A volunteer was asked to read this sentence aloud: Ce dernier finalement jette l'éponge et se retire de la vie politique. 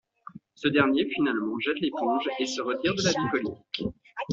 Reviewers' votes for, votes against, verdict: 1, 2, rejected